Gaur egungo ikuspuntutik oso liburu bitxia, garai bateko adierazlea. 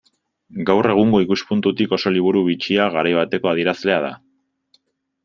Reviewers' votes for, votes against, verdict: 1, 2, rejected